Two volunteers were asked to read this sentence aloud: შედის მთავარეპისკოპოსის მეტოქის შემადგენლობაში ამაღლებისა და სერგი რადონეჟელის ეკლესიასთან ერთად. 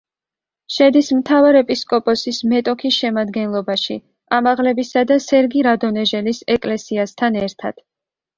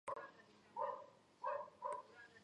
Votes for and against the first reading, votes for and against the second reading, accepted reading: 2, 0, 0, 2, first